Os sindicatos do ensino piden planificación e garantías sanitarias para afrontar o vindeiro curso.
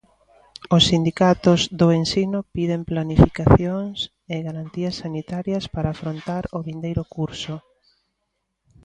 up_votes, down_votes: 0, 2